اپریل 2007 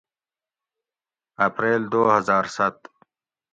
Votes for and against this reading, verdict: 0, 2, rejected